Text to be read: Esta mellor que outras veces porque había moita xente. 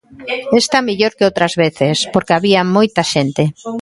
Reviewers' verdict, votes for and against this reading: rejected, 1, 2